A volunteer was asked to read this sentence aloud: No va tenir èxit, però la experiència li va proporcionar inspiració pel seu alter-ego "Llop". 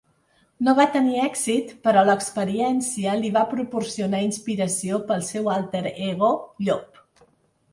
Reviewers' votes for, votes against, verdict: 2, 0, accepted